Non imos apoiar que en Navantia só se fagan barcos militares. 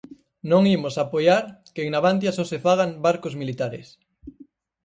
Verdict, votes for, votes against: accepted, 4, 0